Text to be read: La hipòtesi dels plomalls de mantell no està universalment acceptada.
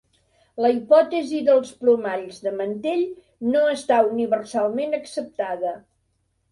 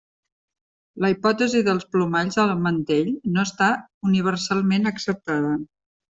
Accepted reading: first